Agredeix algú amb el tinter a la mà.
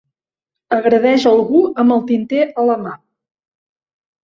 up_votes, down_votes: 2, 0